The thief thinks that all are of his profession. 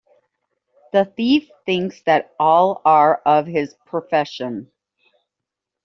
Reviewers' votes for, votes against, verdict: 2, 0, accepted